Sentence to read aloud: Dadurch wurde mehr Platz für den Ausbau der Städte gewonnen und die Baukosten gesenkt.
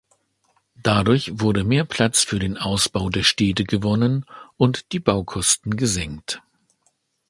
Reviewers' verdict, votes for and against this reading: accepted, 2, 0